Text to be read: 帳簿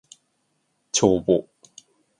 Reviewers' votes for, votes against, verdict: 2, 0, accepted